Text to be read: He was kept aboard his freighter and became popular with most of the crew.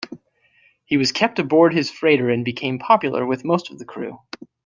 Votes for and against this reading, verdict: 2, 0, accepted